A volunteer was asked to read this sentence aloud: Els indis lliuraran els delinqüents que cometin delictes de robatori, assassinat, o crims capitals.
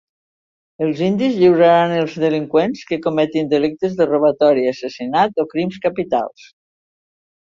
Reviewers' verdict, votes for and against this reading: accepted, 2, 0